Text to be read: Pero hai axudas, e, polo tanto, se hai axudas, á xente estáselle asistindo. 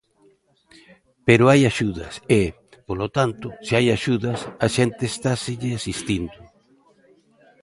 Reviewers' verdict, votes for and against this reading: rejected, 1, 2